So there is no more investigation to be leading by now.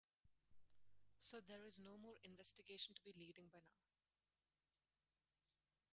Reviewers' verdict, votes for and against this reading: rejected, 2, 4